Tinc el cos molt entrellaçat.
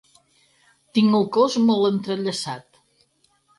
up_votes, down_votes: 4, 0